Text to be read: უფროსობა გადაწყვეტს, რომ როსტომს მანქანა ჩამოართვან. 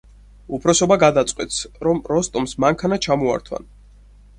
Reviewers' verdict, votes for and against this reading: accepted, 6, 0